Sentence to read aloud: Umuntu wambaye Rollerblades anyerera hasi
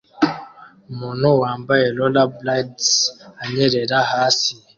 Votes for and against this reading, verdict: 2, 0, accepted